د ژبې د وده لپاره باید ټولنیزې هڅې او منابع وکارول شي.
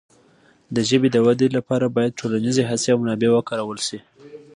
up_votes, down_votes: 2, 0